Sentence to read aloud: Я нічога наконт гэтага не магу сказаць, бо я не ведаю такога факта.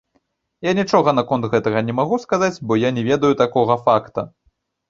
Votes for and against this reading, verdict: 2, 0, accepted